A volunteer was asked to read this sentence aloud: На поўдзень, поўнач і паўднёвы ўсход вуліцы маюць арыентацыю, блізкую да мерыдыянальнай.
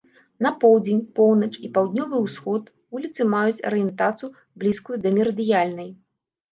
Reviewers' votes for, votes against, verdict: 0, 2, rejected